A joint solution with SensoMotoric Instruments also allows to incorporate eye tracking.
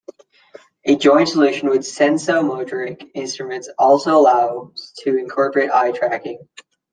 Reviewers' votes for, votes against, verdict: 2, 0, accepted